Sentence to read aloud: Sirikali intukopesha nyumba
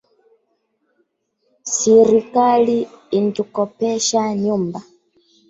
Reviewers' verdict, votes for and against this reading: rejected, 1, 2